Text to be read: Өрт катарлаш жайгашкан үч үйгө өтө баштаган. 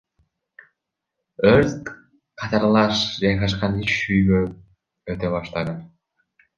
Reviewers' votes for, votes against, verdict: 0, 2, rejected